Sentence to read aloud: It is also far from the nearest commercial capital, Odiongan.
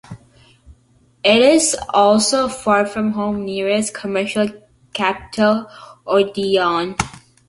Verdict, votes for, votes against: rejected, 0, 3